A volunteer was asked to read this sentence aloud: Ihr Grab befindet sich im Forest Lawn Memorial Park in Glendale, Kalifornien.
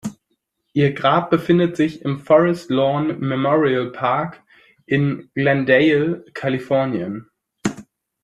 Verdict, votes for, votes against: accepted, 2, 0